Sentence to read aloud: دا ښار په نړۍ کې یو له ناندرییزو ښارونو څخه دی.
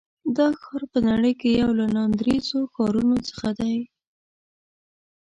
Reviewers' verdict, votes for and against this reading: rejected, 1, 2